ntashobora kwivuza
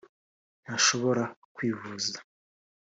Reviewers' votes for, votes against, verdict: 2, 0, accepted